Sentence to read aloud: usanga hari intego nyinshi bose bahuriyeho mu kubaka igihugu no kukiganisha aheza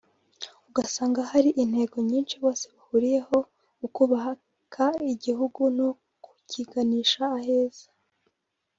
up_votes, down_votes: 1, 2